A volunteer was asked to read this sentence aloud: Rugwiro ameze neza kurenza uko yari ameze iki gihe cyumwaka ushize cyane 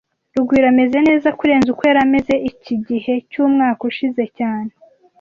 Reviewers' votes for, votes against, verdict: 2, 0, accepted